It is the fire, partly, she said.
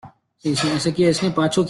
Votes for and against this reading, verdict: 0, 2, rejected